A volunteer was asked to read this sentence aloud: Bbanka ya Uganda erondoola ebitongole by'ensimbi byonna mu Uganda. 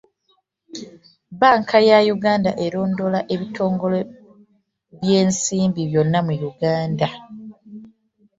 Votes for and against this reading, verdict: 2, 0, accepted